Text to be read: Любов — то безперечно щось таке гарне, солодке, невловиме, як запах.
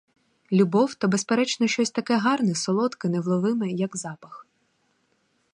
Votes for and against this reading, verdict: 4, 0, accepted